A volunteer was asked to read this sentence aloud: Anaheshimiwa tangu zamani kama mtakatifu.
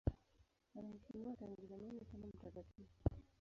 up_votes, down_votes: 1, 2